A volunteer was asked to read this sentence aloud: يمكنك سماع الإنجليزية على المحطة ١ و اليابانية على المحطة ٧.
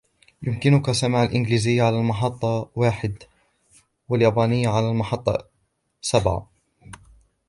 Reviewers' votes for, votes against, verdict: 0, 2, rejected